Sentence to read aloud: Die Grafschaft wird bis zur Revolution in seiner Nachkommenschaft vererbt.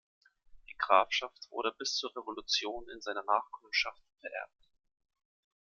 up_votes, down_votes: 0, 2